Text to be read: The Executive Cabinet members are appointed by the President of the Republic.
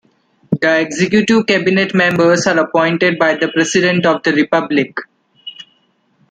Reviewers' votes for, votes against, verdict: 2, 0, accepted